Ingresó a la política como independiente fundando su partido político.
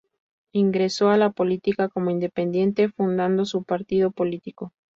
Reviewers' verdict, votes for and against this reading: accepted, 2, 0